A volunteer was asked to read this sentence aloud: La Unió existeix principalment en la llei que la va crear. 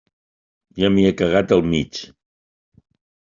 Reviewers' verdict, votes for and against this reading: rejected, 0, 2